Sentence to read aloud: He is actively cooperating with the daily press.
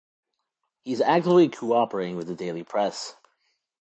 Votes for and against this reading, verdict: 2, 0, accepted